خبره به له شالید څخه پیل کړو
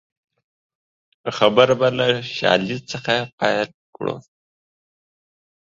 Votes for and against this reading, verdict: 2, 1, accepted